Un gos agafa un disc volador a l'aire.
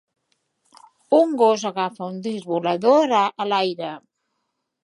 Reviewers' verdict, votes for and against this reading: rejected, 0, 2